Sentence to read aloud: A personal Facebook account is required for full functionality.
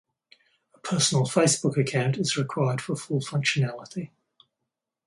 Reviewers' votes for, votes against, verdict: 2, 0, accepted